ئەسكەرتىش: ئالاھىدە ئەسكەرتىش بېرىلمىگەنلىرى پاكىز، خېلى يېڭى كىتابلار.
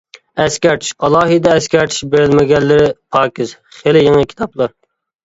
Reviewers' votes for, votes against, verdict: 2, 0, accepted